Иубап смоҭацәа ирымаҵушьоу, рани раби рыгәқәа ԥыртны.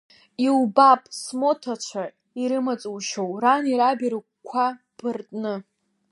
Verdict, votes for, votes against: accepted, 2, 0